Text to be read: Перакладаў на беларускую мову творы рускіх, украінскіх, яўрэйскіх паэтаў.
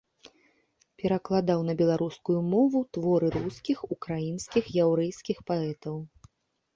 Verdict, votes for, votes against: accepted, 2, 0